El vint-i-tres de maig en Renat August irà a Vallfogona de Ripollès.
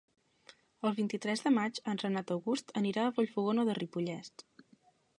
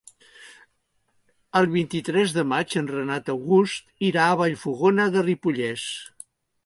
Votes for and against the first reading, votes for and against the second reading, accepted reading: 0, 2, 3, 0, second